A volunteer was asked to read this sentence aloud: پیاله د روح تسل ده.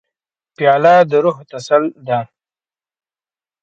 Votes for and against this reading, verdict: 2, 0, accepted